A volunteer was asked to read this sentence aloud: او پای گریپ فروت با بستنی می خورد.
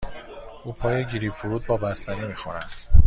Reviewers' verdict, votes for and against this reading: accepted, 2, 0